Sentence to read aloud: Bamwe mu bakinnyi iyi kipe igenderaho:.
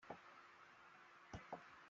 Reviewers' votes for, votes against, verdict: 0, 2, rejected